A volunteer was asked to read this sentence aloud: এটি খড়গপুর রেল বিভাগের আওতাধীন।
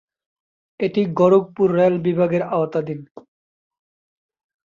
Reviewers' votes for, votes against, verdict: 1, 3, rejected